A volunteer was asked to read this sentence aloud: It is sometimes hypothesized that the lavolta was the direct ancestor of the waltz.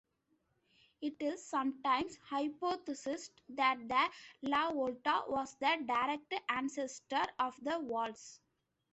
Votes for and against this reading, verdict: 1, 3, rejected